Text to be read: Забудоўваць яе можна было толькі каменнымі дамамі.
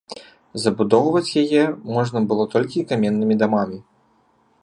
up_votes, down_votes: 2, 0